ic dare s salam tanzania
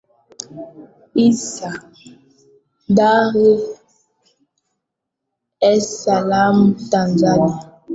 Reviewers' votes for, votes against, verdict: 0, 2, rejected